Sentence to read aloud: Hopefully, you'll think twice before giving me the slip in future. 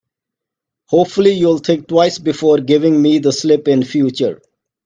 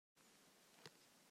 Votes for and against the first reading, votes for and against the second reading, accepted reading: 2, 0, 0, 2, first